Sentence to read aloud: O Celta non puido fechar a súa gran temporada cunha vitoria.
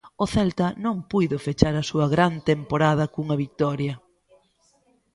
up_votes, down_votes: 2, 0